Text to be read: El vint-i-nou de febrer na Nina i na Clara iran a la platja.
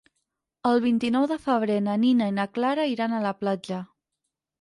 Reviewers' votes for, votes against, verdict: 6, 2, accepted